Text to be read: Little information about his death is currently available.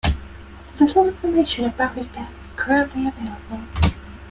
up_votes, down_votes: 2, 0